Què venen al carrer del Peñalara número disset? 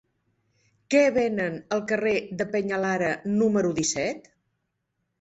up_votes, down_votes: 2, 1